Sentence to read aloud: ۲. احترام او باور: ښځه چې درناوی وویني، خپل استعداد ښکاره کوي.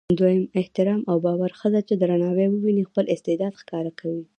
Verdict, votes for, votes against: rejected, 0, 2